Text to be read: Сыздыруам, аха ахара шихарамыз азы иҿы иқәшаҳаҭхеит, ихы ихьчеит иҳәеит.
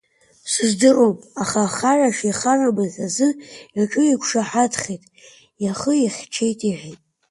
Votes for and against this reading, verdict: 2, 0, accepted